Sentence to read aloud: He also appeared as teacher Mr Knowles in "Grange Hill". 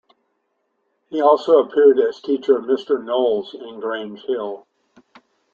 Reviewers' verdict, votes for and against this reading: rejected, 0, 2